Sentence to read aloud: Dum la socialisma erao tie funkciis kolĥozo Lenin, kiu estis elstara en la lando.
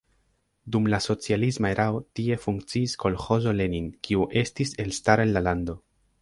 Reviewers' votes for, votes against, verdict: 3, 0, accepted